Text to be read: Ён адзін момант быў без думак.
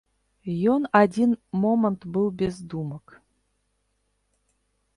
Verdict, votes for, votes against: rejected, 1, 2